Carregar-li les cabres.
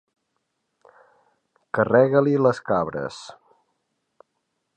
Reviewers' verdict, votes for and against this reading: rejected, 0, 3